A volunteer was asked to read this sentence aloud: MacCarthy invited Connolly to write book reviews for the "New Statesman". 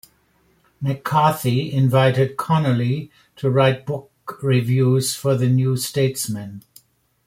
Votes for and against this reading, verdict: 2, 0, accepted